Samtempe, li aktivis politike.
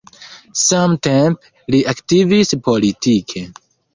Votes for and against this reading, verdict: 0, 2, rejected